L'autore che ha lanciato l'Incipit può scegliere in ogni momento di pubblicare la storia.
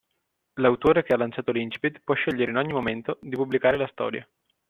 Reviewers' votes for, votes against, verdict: 2, 0, accepted